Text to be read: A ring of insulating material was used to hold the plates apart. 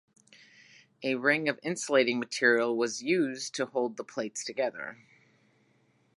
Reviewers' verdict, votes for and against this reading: rejected, 1, 2